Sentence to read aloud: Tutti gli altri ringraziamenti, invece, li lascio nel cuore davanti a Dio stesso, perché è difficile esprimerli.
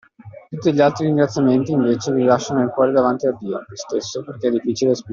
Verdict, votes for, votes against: rejected, 0, 2